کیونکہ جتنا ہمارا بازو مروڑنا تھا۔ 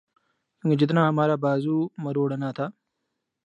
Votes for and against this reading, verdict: 0, 2, rejected